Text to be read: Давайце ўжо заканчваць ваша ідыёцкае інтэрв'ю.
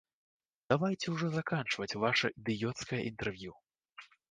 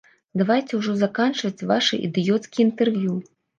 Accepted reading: first